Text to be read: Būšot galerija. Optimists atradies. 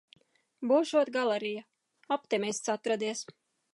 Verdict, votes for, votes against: accepted, 2, 0